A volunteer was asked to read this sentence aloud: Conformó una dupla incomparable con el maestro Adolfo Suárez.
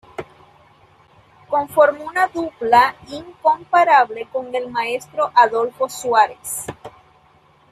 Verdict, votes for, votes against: accepted, 2, 0